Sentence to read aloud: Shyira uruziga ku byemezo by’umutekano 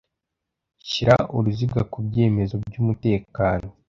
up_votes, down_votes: 2, 0